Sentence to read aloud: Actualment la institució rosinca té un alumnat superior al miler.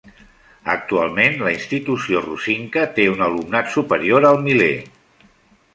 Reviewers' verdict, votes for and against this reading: accepted, 2, 0